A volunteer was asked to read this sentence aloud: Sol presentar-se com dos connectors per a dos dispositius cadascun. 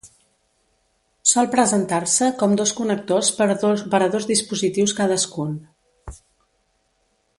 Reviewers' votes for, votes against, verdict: 0, 2, rejected